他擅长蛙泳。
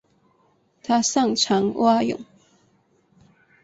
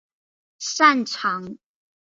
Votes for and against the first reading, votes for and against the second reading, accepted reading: 2, 1, 1, 2, first